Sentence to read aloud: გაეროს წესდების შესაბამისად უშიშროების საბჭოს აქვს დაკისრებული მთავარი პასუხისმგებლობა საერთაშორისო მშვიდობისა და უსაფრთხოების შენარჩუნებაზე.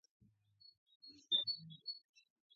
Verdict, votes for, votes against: rejected, 0, 2